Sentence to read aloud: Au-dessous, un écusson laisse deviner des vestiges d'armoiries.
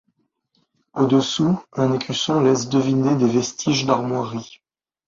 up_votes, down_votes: 2, 0